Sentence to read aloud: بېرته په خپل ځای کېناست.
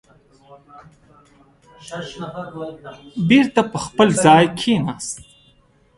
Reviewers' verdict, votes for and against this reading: rejected, 1, 2